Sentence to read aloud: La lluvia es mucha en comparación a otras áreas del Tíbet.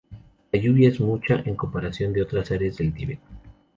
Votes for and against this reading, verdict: 0, 2, rejected